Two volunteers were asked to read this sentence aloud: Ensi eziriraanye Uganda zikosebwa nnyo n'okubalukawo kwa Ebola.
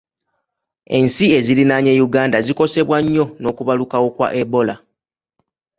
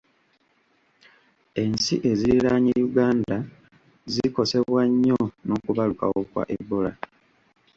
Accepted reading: first